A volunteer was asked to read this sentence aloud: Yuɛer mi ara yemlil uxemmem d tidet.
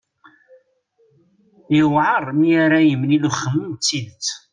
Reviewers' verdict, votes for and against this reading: accepted, 2, 0